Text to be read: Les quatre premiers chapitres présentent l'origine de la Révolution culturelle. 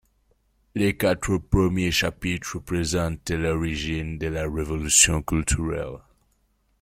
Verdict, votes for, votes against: accepted, 2, 0